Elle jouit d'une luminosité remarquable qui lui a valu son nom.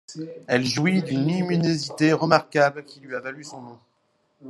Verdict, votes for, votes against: rejected, 0, 2